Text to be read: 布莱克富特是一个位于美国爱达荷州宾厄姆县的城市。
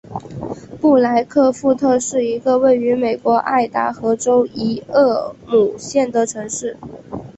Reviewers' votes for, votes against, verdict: 1, 2, rejected